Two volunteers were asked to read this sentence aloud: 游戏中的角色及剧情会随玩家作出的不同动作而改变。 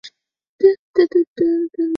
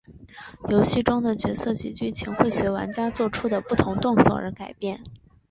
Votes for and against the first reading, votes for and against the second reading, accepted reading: 0, 2, 2, 0, second